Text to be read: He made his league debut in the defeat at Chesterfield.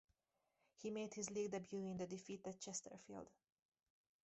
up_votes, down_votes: 4, 0